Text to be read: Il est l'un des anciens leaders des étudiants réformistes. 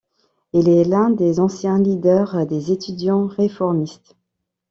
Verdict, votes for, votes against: accepted, 2, 0